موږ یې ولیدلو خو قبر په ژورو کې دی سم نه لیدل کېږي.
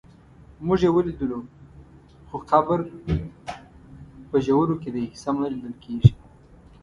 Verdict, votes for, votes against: rejected, 1, 2